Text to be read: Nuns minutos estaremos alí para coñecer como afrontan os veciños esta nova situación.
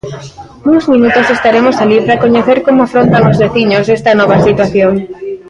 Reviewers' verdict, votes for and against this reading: rejected, 0, 2